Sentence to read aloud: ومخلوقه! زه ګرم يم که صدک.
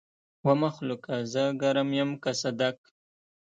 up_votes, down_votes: 1, 2